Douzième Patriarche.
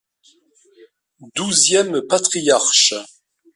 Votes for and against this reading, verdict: 2, 0, accepted